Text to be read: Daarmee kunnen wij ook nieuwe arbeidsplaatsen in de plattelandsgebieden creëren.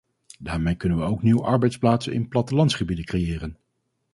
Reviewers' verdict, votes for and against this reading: rejected, 2, 2